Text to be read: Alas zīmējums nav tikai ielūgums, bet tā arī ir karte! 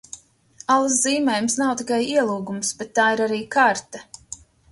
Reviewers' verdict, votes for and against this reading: accepted, 3, 0